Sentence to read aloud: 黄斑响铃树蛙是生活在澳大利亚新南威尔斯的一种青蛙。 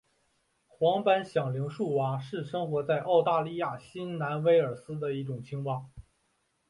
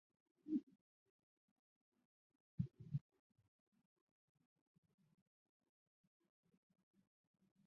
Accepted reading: first